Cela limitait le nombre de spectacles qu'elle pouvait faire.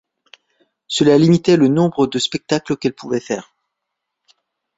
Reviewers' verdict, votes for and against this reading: accepted, 2, 0